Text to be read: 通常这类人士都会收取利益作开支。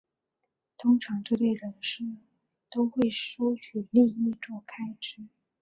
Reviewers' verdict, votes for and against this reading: rejected, 1, 2